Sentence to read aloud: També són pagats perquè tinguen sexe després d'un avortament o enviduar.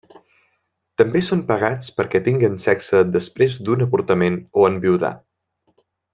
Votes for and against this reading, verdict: 1, 2, rejected